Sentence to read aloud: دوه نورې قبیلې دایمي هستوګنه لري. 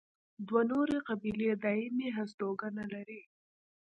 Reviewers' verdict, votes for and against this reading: rejected, 1, 2